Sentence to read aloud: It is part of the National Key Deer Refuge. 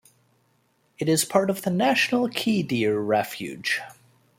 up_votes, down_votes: 2, 0